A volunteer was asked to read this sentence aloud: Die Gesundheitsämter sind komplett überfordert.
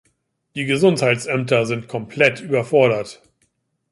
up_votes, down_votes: 2, 0